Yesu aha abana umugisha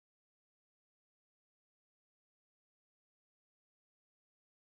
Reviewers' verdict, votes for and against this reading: rejected, 1, 2